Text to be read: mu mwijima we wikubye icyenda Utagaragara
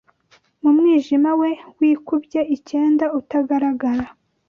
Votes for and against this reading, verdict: 2, 0, accepted